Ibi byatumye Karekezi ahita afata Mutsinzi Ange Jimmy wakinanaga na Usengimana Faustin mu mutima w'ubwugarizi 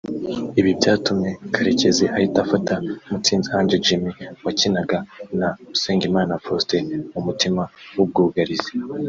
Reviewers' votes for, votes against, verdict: 0, 2, rejected